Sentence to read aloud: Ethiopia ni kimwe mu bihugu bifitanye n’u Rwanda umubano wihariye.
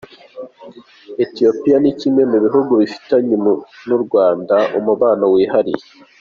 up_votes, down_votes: 3, 1